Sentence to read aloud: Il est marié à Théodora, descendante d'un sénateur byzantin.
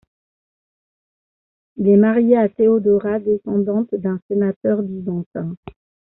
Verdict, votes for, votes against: accepted, 2, 0